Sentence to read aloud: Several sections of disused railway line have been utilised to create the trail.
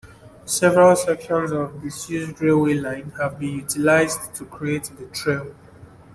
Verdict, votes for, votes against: accepted, 3, 1